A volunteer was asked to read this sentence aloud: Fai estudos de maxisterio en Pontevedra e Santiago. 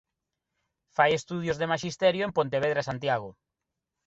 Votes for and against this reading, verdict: 2, 0, accepted